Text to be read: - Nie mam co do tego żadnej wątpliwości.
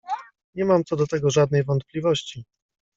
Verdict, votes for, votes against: rejected, 1, 2